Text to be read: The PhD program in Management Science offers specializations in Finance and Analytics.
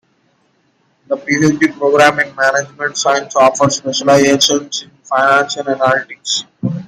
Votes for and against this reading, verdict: 2, 1, accepted